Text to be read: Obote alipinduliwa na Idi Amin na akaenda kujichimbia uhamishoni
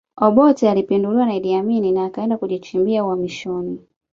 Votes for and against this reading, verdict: 1, 2, rejected